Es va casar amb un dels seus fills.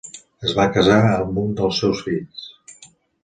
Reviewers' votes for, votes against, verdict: 2, 0, accepted